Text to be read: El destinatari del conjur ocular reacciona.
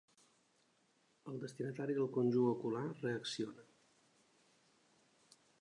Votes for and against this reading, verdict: 4, 1, accepted